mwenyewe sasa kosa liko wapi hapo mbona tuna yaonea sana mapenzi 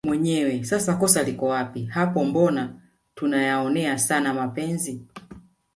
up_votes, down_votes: 2, 0